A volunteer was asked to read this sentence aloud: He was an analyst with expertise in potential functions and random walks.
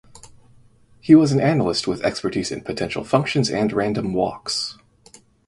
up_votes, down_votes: 6, 0